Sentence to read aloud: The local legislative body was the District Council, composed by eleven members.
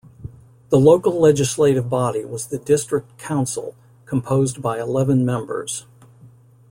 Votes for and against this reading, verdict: 2, 0, accepted